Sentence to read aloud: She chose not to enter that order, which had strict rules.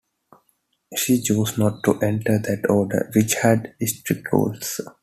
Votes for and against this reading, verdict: 2, 0, accepted